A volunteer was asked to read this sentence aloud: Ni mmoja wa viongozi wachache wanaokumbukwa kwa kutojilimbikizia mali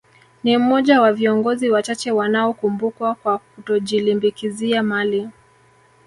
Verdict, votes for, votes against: rejected, 0, 2